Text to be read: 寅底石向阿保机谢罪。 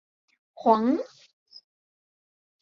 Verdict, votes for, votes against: rejected, 1, 2